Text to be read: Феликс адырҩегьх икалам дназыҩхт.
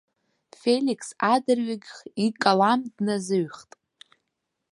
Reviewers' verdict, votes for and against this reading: rejected, 1, 2